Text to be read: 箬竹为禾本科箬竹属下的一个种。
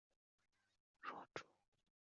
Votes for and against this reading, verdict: 2, 0, accepted